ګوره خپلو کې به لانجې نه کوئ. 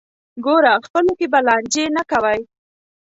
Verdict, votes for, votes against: accepted, 2, 0